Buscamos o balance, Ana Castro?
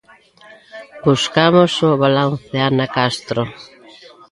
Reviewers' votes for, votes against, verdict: 2, 0, accepted